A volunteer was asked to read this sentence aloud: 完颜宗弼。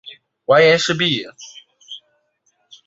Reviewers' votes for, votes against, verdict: 0, 2, rejected